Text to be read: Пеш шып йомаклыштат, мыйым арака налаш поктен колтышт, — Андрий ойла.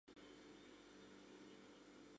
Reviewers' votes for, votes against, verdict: 2, 0, accepted